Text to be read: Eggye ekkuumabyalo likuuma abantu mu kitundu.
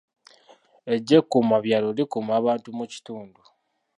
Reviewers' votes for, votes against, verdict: 1, 2, rejected